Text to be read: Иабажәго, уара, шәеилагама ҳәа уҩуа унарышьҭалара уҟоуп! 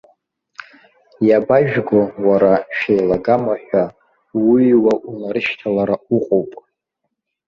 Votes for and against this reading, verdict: 2, 0, accepted